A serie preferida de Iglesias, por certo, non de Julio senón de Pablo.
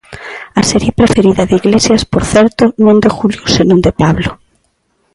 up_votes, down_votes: 1, 2